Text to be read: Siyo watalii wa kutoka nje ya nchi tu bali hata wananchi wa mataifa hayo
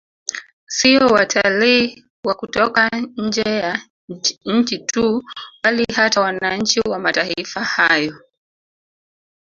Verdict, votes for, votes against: rejected, 1, 2